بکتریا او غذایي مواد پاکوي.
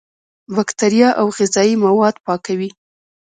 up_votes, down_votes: 0, 2